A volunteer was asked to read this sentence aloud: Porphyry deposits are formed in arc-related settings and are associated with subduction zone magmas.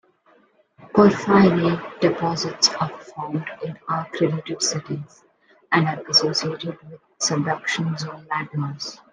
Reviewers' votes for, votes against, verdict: 1, 3, rejected